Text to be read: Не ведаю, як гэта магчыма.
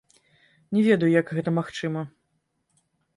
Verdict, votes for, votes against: rejected, 0, 2